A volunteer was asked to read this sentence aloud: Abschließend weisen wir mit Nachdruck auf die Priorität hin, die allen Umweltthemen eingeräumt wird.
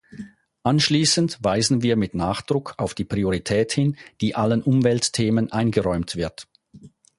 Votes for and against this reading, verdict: 0, 4, rejected